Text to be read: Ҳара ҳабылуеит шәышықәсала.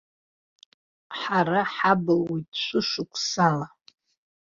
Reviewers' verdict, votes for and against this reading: accepted, 2, 0